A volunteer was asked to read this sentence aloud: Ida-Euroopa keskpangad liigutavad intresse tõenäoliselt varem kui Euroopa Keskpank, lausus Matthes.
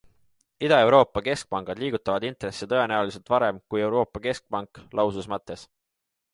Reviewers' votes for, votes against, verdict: 2, 0, accepted